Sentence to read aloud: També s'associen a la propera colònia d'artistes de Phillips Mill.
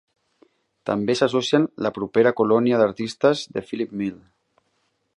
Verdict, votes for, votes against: rejected, 2, 3